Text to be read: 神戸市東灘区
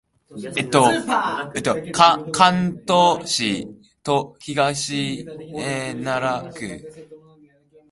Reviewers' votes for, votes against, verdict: 0, 2, rejected